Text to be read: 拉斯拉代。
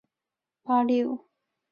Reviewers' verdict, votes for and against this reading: rejected, 1, 4